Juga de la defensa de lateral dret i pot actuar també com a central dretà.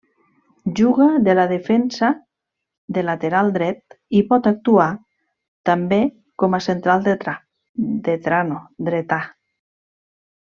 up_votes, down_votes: 0, 2